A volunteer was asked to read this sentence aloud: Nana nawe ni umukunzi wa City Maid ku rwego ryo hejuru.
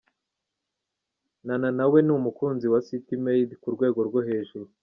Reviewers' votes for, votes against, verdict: 2, 0, accepted